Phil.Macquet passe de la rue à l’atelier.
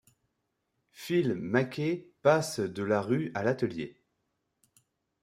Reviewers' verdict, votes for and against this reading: accepted, 2, 0